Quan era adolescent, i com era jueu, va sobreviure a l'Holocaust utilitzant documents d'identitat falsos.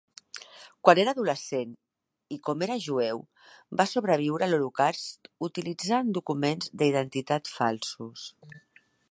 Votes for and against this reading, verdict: 0, 3, rejected